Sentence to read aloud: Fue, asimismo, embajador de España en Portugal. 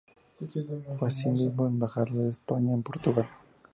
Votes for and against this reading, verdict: 2, 0, accepted